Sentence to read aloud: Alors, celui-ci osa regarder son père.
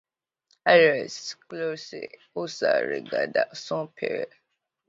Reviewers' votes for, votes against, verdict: 0, 2, rejected